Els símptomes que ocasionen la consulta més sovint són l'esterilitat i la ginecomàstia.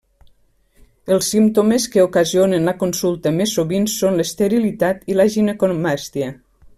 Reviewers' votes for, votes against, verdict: 1, 2, rejected